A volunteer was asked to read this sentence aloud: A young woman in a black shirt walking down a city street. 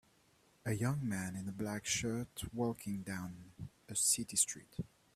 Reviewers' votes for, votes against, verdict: 1, 2, rejected